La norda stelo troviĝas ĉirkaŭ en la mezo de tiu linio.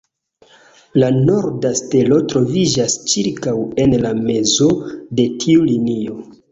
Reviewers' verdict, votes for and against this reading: rejected, 0, 2